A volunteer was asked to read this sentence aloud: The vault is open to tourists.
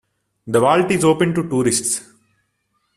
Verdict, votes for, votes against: rejected, 1, 2